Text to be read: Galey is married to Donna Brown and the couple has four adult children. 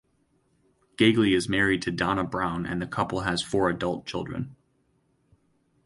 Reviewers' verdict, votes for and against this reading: accepted, 4, 0